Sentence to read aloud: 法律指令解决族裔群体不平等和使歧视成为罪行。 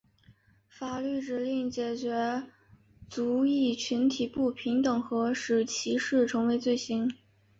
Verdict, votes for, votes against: accepted, 2, 0